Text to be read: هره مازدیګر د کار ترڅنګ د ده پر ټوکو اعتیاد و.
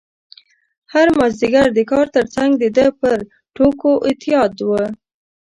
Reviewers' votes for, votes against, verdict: 1, 2, rejected